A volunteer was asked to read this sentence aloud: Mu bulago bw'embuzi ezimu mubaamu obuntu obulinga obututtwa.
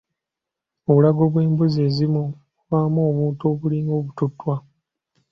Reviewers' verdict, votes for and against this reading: accepted, 2, 0